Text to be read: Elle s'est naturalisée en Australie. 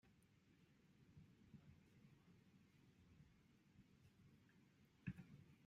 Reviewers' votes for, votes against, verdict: 0, 2, rejected